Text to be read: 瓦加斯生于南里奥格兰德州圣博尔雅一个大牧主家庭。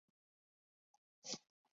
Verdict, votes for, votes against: rejected, 0, 2